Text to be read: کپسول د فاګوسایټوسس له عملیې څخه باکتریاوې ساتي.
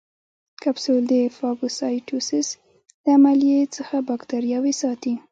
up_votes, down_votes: 2, 1